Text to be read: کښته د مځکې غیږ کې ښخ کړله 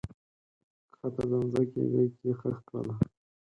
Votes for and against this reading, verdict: 2, 4, rejected